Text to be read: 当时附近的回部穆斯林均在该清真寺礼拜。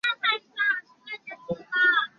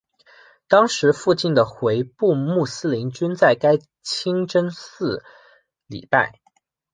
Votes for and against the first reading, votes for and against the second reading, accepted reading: 0, 2, 2, 0, second